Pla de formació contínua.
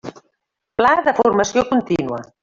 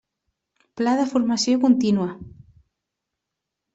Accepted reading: second